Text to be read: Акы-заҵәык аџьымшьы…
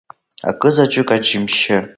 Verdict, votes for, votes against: accepted, 2, 0